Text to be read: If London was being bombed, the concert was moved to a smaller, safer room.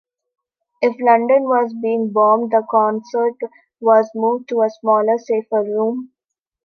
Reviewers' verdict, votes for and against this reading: accepted, 2, 0